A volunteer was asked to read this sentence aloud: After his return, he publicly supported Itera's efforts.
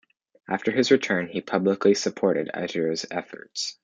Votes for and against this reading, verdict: 2, 0, accepted